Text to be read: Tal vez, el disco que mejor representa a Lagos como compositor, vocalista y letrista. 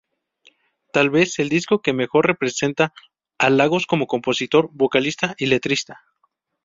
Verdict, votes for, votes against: accepted, 2, 0